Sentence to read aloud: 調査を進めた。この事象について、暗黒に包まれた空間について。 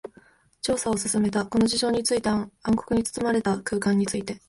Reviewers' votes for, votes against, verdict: 3, 0, accepted